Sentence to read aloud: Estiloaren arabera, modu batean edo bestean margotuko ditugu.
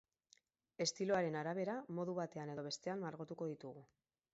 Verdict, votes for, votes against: accepted, 4, 0